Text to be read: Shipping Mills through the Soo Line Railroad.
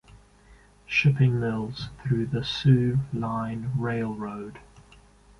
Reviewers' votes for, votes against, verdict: 2, 0, accepted